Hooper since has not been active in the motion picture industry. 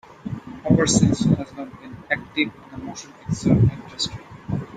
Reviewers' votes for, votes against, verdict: 2, 1, accepted